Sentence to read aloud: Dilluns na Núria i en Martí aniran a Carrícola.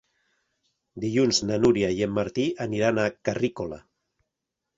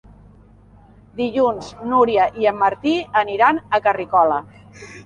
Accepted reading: first